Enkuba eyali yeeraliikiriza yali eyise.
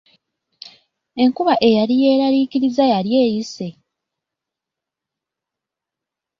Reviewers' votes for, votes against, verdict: 2, 0, accepted